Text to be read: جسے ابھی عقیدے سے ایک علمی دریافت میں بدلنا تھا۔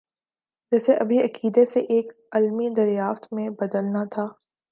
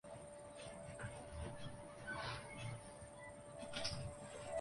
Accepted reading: first